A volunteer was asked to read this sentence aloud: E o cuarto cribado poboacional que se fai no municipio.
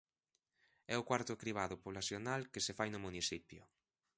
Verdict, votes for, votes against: rejected, 0, 2